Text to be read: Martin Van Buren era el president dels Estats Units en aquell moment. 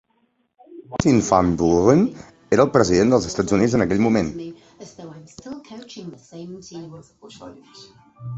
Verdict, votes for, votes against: accepted, 4, 3